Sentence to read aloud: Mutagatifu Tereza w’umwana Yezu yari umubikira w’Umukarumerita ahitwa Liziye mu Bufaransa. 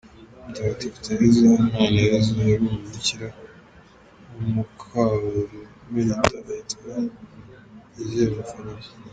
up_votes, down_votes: 0, 2